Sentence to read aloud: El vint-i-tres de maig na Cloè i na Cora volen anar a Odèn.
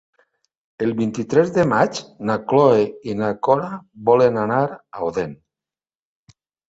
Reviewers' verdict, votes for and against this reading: accepted, 2, 1